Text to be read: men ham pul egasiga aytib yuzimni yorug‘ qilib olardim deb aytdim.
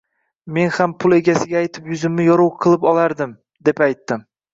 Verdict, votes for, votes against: rejected, 0, 2